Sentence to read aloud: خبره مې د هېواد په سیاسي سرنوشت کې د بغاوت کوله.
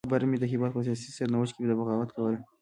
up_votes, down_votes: 1, 2